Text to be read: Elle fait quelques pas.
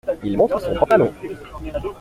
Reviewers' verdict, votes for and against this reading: rejected, 0, 2